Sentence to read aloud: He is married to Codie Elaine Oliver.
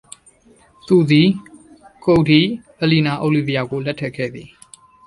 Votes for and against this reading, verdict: 0, 2, rejected